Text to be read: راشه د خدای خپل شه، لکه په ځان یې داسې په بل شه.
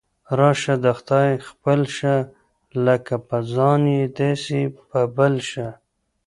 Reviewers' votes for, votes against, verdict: 1, 2, rejected